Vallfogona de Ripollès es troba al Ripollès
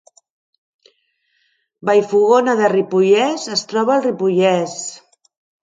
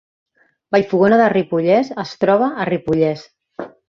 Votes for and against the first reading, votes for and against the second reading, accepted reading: 2, 1, 0, 2, first